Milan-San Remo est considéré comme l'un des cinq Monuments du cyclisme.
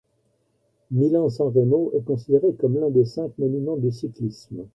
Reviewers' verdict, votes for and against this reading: accepted, 2, 0